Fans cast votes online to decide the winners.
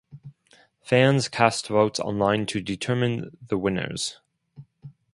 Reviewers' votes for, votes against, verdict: 0, 4, rejected